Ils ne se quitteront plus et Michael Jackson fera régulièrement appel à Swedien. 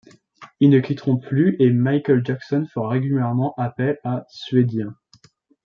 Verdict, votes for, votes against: rejected, 0, 2